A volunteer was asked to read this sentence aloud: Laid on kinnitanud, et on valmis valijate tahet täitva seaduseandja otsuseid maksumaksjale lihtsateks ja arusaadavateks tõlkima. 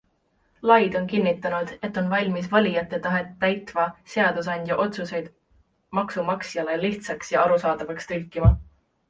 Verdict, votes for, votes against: rejected, 1, 2